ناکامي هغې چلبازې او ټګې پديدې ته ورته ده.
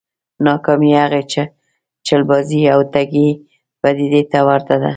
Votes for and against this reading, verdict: 0, 2, rejected